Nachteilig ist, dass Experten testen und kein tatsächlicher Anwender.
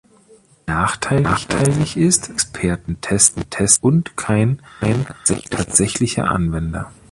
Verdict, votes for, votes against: rejected, 0, 2